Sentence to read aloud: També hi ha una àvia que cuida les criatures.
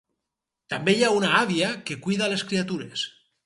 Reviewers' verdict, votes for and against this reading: rejected, 2, 2